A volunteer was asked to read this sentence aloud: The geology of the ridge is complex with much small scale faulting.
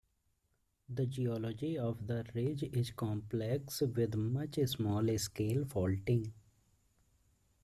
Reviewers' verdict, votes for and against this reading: rejected, 0, 2